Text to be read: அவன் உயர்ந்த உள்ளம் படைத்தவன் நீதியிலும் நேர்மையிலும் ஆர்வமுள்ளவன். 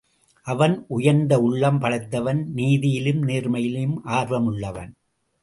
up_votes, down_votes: 2, 0